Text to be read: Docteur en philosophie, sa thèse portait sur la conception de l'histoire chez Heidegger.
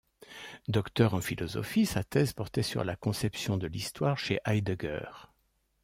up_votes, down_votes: 2, 0